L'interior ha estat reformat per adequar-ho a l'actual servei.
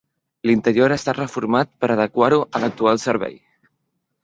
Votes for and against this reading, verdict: 2, 0, accepted